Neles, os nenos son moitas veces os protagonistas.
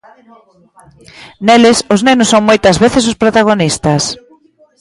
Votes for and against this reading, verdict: 1, 2, rejected